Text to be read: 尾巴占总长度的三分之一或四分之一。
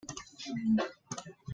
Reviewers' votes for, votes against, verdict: 0, 2, rejected